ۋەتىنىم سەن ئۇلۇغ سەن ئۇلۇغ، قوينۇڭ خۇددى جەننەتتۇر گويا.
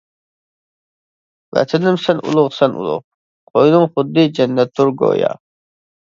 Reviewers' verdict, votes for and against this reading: accepted, 2, 0